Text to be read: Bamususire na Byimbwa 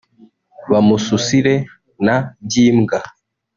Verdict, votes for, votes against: rejected, 1, 2